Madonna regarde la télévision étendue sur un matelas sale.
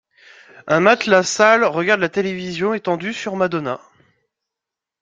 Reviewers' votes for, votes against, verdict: 0, 2, rejected